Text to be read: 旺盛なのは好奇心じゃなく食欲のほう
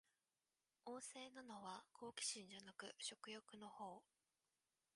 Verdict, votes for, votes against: rejected, 0, 2